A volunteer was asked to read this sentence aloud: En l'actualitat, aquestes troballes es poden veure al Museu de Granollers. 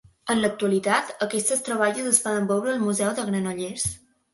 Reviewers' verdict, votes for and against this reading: accepted, 2, 0